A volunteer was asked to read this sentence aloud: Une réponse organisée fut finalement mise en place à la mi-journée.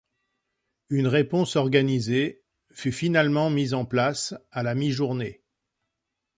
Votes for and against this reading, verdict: 2, 0, accepted